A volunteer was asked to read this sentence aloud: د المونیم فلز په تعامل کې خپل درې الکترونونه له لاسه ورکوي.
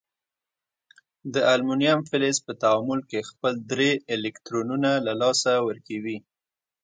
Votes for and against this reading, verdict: 2, 0, accepted